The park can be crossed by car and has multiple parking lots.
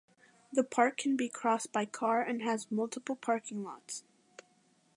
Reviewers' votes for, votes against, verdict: 2, 0, accepted